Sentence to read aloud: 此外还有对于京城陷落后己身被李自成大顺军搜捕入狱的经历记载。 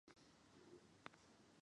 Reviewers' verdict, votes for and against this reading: accepted, 2, 0